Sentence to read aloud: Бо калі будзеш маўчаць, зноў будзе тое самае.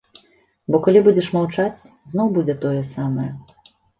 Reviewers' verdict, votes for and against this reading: accepted, 2, 0